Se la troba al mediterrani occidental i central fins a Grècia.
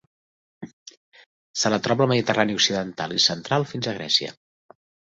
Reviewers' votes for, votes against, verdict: 3, 0, accepted